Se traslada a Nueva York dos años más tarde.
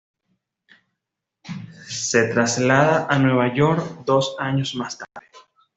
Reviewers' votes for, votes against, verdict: 2, 0, accepted